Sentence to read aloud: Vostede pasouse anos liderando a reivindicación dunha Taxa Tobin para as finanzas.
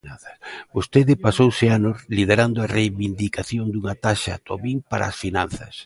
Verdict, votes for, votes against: rejected, 0, 3